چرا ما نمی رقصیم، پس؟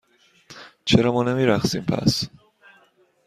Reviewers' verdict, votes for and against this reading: accepted, 2, 0